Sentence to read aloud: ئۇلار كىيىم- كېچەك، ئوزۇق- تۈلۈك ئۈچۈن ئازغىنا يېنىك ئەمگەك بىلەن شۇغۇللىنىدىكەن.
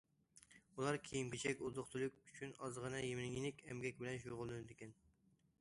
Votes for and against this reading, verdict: 1, 2, rejected